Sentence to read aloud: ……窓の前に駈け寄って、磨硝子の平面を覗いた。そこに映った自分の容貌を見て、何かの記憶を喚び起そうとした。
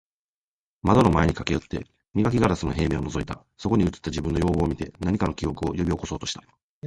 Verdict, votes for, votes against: accepted, 2, 1